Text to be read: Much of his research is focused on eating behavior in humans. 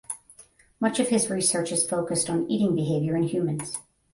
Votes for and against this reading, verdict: 5, 5, rejected